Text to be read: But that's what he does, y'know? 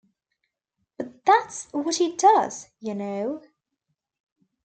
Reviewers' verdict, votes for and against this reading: accepted, 2, 0